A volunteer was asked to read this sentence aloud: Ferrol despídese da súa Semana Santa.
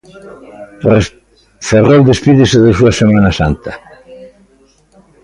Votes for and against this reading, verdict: 0, 2, rejected